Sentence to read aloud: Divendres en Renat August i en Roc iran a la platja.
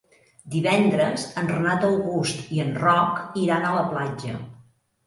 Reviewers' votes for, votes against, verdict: 3, 0, accepted